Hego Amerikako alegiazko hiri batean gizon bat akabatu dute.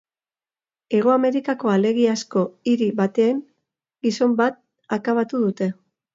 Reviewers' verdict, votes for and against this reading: rejected, 0, 2